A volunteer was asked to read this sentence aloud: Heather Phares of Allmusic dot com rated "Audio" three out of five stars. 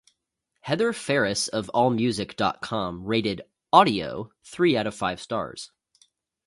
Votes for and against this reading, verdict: 2, 0, accepted